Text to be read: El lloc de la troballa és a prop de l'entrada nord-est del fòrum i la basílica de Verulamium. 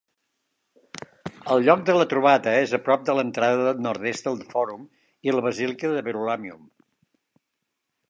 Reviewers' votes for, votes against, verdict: 1, 2, rejected